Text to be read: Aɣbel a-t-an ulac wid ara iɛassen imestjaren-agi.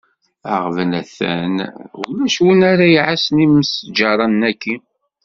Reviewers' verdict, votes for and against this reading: rejected, 0, 2